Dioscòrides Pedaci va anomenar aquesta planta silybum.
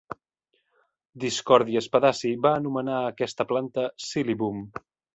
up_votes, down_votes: 1, 2